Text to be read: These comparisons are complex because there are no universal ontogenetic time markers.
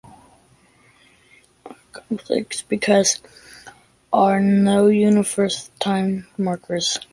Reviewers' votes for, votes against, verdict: 1, 2, rejected